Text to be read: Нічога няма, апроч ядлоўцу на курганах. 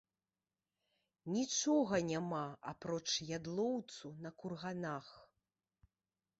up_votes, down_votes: 2, 0